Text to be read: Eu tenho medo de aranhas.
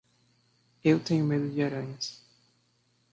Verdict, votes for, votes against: accepted, 2, 0